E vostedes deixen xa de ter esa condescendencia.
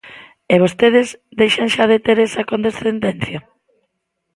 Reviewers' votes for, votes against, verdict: 2, 0, accepted